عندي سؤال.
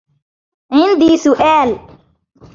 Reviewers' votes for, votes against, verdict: 0, 2, rejected